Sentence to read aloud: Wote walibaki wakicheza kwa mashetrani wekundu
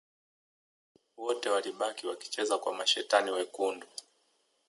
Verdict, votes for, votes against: accepted, 2, 1